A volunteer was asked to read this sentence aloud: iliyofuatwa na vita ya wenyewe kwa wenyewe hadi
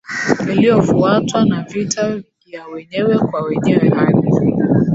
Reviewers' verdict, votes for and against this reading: rejected, 0, 2